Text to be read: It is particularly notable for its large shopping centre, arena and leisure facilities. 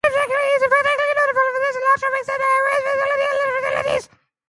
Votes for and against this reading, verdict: 0, 2, rejected